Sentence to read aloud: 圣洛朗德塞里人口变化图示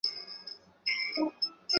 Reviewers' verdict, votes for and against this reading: rejected, 0, 4